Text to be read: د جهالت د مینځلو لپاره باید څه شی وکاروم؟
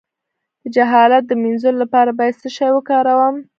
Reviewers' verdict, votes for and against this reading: rejected, 1, 2